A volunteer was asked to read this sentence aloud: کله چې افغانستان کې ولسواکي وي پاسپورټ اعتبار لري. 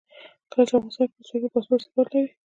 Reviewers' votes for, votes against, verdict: 2, 0, accepted